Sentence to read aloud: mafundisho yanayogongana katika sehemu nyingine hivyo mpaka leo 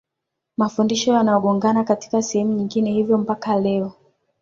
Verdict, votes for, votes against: accepted, 2, 0